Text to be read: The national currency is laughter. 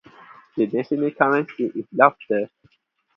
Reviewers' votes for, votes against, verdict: 0, 2, rejected